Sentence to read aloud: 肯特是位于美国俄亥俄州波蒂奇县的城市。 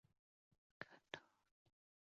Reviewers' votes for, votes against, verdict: 2, 4, rejected